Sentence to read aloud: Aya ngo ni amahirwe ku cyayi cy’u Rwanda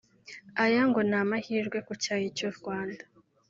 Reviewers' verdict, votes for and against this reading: accepted, 3, 1